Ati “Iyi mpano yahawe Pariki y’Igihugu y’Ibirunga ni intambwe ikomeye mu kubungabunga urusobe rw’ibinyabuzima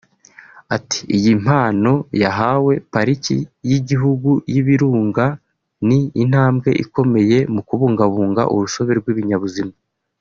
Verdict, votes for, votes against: accepted, 2, 0